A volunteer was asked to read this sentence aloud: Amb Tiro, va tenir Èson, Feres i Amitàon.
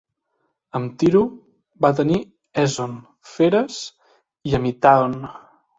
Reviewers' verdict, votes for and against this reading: accepted, 2, 0